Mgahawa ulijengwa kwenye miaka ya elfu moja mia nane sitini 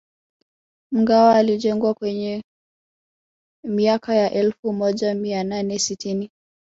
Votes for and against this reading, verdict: 1, 2, rejected